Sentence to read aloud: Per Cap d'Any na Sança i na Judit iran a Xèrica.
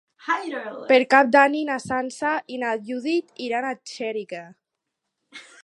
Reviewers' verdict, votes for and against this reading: rejected, 0, 4